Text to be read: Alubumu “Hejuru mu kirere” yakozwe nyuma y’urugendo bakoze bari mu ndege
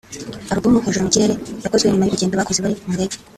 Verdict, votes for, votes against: rejected, 1, 2